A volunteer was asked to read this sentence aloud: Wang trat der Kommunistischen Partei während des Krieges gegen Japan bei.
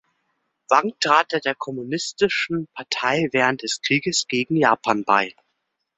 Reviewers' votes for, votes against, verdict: 1, 2, rejected